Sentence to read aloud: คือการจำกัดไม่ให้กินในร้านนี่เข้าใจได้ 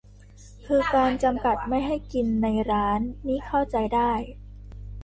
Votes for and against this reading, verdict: 2, 1, accepted